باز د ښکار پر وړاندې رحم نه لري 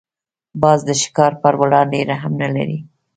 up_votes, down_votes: 1, 2